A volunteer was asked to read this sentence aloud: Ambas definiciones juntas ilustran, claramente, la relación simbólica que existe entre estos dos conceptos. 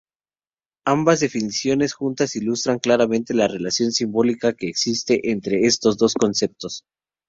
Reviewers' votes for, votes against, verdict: 2, 0, accepted